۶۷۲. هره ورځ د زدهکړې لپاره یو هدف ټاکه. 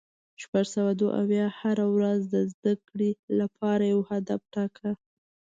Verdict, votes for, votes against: rejected, 0, 2